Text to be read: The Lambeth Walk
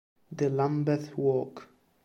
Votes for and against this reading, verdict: 2, 1, accepted